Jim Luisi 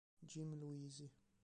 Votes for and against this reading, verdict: 0, 3, rejected